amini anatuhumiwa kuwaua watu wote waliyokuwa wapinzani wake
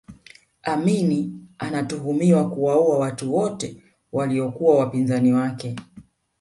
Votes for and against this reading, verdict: 2, 0, accepted